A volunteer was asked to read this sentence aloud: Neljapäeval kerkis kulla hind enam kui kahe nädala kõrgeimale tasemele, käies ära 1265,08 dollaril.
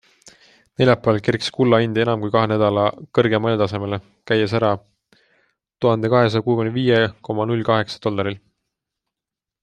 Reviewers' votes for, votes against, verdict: 0, 2, rejected